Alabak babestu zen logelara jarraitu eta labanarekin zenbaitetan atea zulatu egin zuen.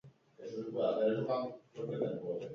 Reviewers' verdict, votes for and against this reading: rejected, 0, 4